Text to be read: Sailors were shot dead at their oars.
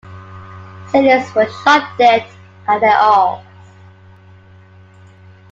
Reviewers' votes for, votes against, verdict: 2, 1, accepted